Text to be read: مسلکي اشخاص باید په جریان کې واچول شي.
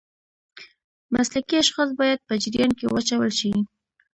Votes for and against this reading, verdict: 2, 0, accepted